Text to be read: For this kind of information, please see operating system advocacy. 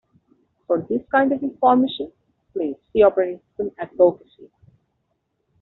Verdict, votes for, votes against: accepted, 2, 0